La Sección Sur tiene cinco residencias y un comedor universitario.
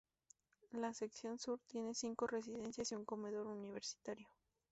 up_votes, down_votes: 2, 0